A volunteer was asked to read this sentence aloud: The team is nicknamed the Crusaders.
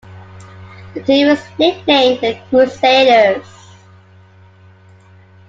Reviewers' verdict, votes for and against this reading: accepted, 2, 1